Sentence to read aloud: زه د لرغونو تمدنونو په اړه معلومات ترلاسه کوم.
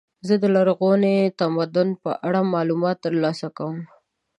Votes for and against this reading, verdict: 1, 4, rejected